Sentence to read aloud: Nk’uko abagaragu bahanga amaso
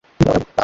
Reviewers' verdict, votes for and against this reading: rejected, 1, 2